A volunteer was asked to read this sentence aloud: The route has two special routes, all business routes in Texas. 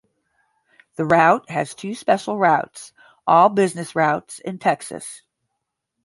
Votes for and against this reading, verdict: 10, 0, accepted